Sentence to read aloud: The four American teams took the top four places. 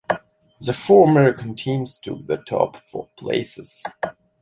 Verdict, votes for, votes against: accepted, 3, 0